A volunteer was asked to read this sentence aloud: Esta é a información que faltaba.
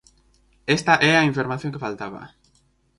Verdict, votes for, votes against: accepted, 4, 0